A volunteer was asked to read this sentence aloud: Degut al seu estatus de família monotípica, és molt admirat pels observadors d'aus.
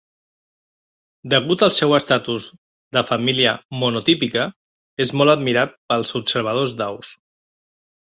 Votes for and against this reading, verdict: 2, 0, accepted